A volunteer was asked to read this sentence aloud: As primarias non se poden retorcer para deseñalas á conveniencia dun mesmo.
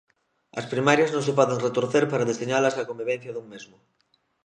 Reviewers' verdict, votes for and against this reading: rejected, 1, 2